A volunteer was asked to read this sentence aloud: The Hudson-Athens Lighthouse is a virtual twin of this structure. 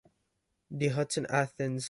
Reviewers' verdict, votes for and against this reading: rejected, 0, 2